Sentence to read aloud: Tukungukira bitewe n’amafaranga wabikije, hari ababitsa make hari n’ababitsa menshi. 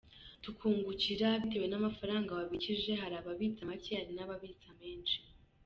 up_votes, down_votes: 2, 0